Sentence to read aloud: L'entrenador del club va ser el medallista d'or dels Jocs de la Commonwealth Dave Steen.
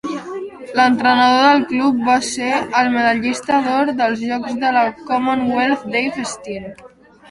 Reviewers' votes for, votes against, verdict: 1, 2, rejected